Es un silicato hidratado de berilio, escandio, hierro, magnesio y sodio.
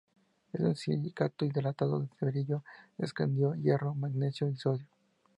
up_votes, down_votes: 0, 2